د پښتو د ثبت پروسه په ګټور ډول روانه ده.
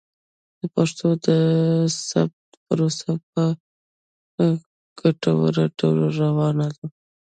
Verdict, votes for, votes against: rejected, 1, 2